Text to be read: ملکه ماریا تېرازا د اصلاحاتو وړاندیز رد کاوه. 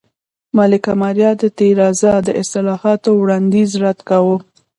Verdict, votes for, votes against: rejected, 1, 2